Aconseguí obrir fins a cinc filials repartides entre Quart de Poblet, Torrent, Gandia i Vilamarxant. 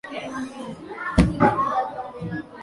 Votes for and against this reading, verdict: 0, 2, rejected